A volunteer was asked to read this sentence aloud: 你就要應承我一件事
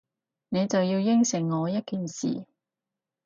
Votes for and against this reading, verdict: 4, 0, accepted